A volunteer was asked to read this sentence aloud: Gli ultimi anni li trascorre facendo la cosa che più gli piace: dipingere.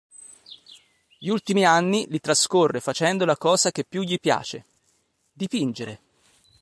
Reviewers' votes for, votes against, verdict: 1, 2, rejected